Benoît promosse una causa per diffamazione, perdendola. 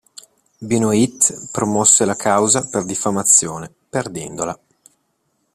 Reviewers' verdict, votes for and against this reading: rejected, 0, 2